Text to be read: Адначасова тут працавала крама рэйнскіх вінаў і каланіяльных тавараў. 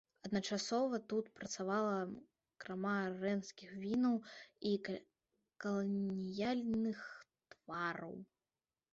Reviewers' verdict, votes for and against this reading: rejected, 0, 2